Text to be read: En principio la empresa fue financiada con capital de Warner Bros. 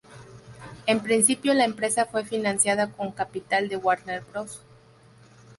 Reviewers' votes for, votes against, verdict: 0, 2, rejected